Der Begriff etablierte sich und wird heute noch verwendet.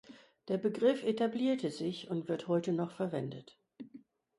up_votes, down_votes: 4, 0